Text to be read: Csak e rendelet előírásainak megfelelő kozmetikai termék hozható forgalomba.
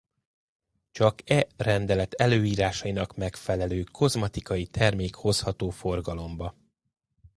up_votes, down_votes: 1, 2